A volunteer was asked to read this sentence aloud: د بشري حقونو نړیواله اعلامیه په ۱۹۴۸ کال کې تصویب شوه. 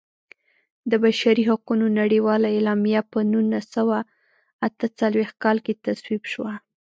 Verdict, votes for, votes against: rejected, 0, 2